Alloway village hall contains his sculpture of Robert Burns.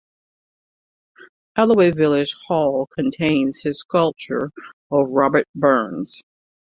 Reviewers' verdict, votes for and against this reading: accepted, 2, 0